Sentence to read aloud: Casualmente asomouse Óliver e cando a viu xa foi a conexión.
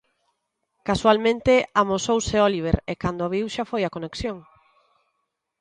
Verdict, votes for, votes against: rejected, 1, 2